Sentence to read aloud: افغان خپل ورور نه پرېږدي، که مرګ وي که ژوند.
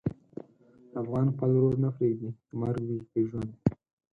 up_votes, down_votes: 4, 0